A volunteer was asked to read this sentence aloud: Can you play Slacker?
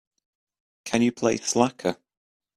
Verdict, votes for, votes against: accepted, 2, 0